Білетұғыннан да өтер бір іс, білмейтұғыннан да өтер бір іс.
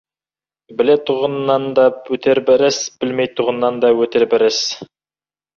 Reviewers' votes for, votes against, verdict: 2, 1, accepted